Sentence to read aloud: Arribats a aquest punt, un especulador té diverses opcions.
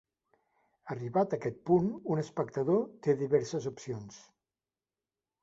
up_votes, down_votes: 0, 2